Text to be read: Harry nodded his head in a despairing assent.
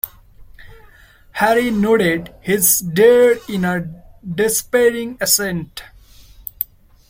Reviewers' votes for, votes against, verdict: 0, 2, rejected